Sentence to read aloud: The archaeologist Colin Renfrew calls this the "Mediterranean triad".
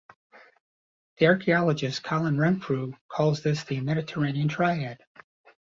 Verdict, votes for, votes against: accepted, 2, 0